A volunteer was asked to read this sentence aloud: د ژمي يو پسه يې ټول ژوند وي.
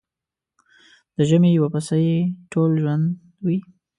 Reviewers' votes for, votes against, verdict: 2, 0, accepted